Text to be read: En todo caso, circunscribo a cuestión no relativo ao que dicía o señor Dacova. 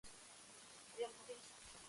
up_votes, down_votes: 1, 2